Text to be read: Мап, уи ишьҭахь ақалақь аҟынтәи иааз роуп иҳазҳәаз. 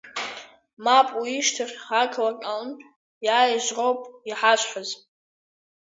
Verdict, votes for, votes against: rejected, 0, 2